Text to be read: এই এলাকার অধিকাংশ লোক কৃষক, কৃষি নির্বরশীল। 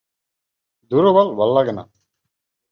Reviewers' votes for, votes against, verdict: 0, 3, rejected